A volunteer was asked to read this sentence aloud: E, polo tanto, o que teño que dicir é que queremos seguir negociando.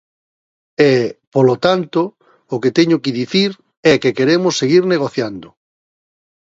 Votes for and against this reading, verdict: 1, 2, rejected